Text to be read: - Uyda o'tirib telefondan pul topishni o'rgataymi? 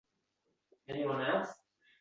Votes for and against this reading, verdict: 0, 2, rejected